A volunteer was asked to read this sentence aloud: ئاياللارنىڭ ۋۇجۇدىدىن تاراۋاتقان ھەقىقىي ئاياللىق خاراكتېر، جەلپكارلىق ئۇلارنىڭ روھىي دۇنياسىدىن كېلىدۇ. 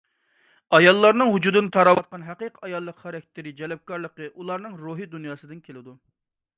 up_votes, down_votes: 1, 2